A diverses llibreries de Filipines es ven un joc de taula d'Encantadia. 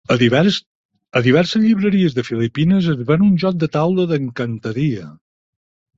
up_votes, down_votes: 0, 4